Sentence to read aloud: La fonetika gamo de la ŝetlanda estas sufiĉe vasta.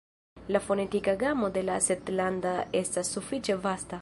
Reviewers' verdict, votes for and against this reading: accepted, 2, 1